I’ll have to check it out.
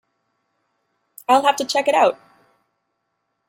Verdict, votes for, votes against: accepted, 2, 0